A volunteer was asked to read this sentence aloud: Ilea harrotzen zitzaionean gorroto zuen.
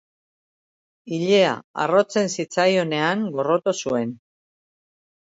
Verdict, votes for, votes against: accepted, 2, 0